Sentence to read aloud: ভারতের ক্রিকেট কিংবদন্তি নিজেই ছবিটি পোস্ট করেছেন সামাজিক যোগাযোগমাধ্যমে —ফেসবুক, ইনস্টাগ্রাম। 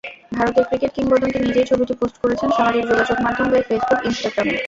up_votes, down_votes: 0, 2